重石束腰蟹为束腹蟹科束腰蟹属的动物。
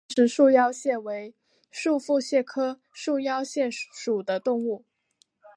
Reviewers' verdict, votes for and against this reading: accepted, 4, 0